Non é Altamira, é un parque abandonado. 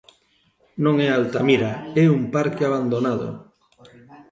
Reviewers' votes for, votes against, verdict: 1, 2, rejected